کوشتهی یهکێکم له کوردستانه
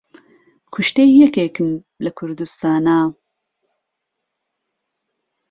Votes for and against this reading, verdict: 1, 2, rejected